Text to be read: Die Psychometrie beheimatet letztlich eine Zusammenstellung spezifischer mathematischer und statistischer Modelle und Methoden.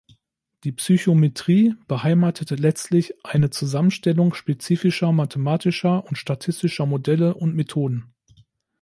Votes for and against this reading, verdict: 1, 2, rejected